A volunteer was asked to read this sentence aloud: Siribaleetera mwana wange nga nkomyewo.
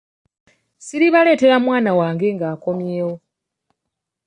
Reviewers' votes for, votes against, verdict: 0, 2, rejected